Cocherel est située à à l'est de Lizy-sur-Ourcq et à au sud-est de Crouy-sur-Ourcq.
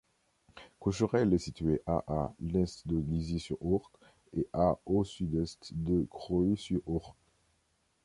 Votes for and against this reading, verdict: 2, 0, accepted